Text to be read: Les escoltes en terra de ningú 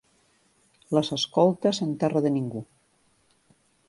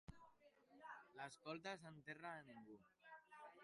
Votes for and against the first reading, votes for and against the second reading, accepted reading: 2, 0, 0, 2, first